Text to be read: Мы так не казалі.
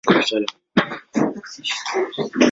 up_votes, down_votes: 0, 2